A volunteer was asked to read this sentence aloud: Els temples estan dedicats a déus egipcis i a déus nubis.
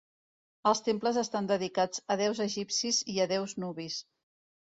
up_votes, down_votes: 4, 0